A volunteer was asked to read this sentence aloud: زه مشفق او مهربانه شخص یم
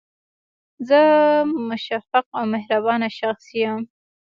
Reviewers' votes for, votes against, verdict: 2, 1, accepted